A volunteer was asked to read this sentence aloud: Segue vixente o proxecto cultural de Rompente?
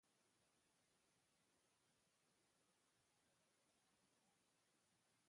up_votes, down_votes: 0, 5